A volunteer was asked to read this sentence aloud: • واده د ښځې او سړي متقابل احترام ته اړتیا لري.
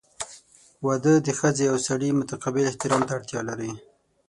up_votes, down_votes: 6, 0